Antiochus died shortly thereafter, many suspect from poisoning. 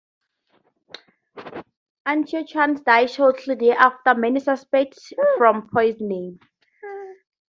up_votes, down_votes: 0, 2